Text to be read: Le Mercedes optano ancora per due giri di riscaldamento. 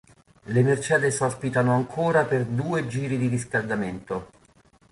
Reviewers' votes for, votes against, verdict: 0, 2, rejected